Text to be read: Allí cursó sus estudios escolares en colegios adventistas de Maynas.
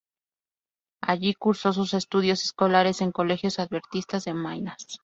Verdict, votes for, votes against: rejected, 2, 2